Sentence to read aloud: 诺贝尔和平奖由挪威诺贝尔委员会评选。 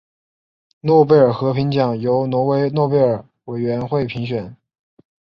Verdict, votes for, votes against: rejected, 1, 2